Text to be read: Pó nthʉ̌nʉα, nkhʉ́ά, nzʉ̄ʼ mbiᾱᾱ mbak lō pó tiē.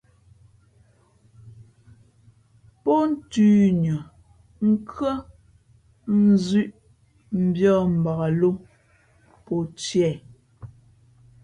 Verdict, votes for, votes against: accepted, 2, 0